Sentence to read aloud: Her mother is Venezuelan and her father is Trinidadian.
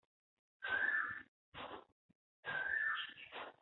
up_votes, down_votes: 0, 2